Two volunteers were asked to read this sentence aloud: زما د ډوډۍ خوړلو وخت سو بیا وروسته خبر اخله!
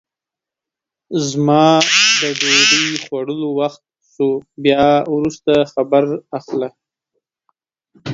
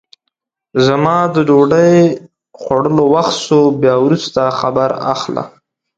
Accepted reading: second